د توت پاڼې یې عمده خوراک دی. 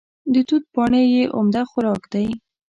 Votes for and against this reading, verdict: 2, 0, accepted